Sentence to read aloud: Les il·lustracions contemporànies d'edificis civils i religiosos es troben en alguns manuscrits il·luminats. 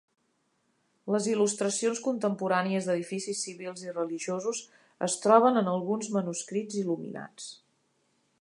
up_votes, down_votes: 2, 0